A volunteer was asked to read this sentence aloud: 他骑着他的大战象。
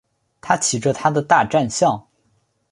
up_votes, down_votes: 2, 0